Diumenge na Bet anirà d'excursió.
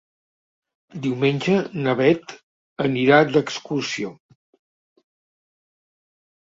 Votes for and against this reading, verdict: 2, 0, accepted